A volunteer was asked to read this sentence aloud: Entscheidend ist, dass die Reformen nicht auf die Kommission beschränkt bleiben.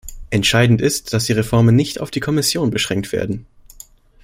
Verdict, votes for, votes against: rejected, 0, 3